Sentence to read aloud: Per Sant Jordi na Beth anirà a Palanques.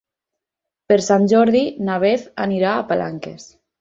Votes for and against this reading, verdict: 6, 0, accepted